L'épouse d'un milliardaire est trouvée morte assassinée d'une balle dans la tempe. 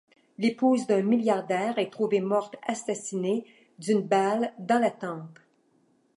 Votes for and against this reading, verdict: 2, 0, accepted